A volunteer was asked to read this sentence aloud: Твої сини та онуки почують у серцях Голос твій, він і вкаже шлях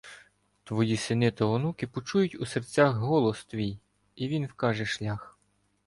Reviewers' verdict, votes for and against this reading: rejected, 1, 2